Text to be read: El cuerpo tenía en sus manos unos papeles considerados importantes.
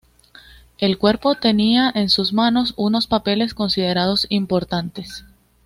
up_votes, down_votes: 2, 0